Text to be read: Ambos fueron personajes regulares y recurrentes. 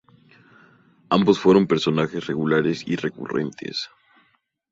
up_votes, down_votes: 0, 2